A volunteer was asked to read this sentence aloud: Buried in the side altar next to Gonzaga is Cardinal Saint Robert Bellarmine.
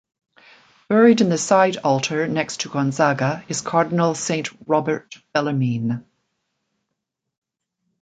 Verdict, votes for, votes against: accepted, 2, 0